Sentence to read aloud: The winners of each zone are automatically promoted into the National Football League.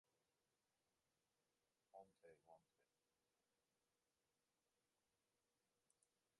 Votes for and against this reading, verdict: 1, 2, rejected